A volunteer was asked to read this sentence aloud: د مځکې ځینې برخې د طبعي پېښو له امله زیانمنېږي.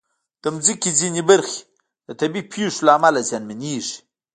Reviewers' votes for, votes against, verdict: 0, 2, rejected